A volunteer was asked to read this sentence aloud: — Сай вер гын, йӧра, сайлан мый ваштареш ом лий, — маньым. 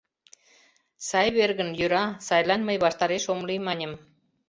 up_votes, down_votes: 2, 0